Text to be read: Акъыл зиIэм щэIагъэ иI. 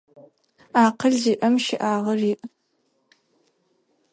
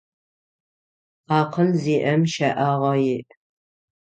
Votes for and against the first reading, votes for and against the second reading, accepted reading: 0, 4, 6, 0, second